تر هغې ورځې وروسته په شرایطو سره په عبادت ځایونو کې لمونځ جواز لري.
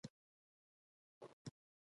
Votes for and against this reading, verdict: 0, 2, rejected